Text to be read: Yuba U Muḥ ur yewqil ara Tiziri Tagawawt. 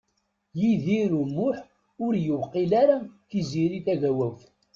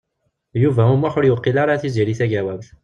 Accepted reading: second